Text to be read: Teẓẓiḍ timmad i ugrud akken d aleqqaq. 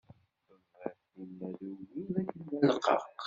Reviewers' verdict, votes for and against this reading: rejected, 0, 2